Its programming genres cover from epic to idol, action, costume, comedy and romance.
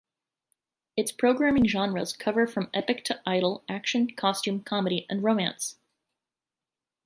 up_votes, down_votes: 0, 2